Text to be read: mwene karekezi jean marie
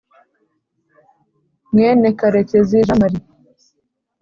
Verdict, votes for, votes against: accepted, 2, 0